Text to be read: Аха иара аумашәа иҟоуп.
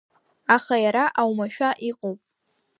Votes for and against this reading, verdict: 2, 0, accepted